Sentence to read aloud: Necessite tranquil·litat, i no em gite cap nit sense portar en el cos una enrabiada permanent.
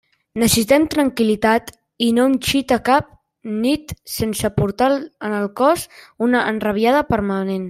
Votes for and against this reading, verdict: 0, 2, rejected